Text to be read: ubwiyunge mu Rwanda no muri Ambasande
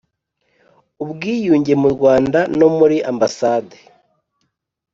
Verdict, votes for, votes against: accepted, 2, 0